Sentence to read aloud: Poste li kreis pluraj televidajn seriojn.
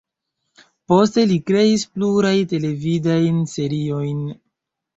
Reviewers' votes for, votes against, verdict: 2, 1, accepted